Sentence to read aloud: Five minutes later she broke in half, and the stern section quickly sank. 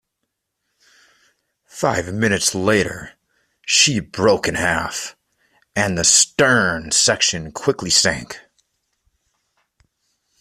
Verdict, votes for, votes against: accepted, 2, 0